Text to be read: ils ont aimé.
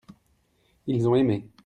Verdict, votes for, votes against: accepted, 2, 0